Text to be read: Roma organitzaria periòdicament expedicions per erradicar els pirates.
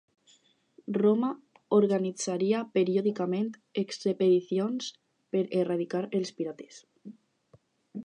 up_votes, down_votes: 2, 6